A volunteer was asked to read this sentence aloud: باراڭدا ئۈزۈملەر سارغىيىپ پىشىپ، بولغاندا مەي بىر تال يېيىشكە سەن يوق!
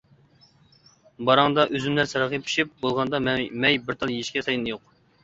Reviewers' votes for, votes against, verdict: 0, 2, rejected